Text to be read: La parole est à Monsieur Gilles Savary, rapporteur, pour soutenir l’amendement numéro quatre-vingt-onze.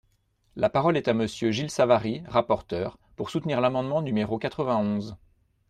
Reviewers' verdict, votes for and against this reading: accepted, 2, 0